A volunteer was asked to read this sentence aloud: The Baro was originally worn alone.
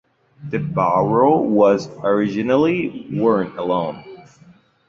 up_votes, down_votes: 2, 0